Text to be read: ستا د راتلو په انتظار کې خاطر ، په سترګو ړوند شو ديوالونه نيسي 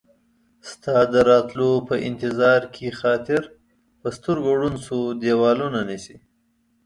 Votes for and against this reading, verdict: 2, 0, accepted